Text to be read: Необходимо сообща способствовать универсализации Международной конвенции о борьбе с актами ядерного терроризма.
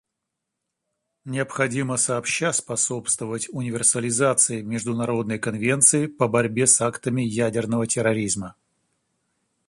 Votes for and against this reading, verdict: 1, 2, rejected